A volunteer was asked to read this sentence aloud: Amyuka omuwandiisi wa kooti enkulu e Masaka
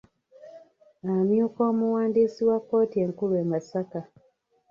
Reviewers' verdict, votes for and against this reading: rejected, 0, 2